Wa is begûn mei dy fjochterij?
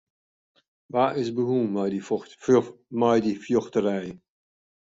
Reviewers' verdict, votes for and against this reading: rejected, 0, 2